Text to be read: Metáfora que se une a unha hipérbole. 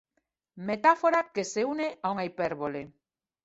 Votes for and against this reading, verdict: 2, 0, accepted